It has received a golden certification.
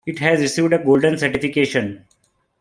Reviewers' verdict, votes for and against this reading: rejected, 1, 2